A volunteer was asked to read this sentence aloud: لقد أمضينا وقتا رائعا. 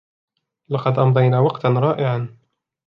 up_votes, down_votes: 2, 1